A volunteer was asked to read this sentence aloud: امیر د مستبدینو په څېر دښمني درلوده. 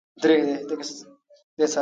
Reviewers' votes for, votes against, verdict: 0, 2, rejected